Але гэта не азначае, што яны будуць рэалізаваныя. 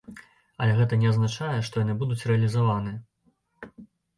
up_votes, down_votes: 0, 2